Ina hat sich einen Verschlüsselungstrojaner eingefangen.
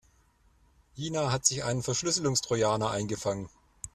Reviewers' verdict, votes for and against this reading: accepted, 2, 0